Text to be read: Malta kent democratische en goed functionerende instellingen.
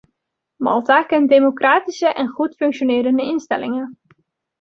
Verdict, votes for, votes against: accepted, 2, 0